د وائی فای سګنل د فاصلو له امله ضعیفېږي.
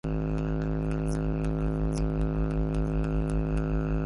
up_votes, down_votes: 0, 2